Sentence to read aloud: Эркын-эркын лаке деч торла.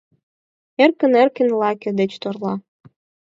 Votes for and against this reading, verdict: 4, 0, accepted